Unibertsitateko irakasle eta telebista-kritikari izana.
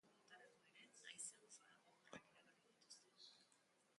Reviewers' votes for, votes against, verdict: 0, 3, rejected